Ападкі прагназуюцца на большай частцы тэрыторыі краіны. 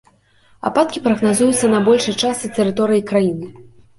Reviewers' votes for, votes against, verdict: 1, 2, rejected